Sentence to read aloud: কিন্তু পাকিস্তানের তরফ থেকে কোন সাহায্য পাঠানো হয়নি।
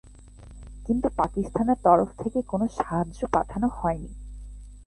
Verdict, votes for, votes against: rejected, 0, 2